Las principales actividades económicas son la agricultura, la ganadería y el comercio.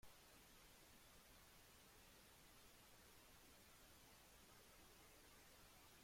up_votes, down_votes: 0, 2